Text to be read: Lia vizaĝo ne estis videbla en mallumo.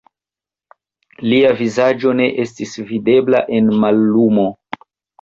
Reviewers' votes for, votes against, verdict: 2, 1, accepted